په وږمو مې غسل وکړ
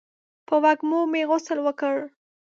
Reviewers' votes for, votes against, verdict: 2, 0, accepted